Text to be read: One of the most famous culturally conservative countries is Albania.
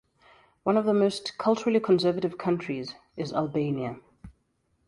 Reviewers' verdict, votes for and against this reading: rejected, 1, 2